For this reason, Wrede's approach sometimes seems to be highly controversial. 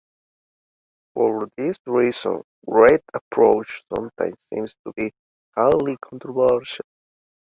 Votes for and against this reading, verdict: 0, 2, rejected